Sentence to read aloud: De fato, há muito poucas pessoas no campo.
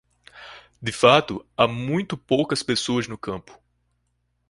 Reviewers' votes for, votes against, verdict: 2, 0, accepted